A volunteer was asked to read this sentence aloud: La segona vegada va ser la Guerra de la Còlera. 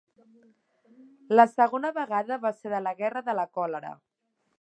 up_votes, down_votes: 0, 2